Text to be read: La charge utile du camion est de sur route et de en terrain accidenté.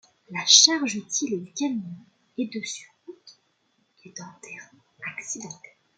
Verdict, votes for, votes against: accepted, 2, 1